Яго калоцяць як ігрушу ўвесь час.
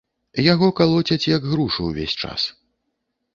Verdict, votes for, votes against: rejected, 1, 2